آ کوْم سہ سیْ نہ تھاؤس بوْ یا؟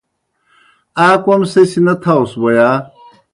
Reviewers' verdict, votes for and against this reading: accepted, 2, 0